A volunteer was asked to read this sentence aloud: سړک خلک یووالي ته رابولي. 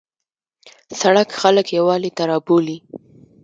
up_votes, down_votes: 2, 0